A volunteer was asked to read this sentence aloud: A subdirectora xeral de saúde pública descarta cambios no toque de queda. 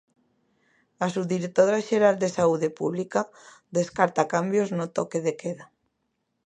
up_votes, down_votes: 2, 0